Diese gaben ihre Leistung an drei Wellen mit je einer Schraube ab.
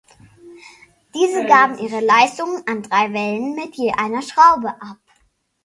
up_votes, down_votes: 1, 2